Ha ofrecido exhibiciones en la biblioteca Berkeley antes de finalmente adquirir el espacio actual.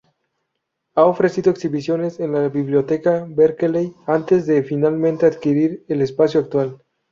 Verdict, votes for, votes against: accepted, 2, 0